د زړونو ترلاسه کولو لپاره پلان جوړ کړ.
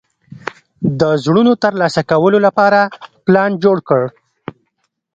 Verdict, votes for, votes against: rejected, 1, 2